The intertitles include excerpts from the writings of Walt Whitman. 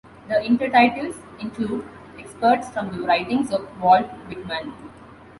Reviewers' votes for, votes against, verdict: 2, 1, accepted